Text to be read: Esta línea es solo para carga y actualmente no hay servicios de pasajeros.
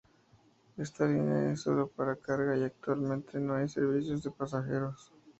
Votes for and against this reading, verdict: 4, 0, accepted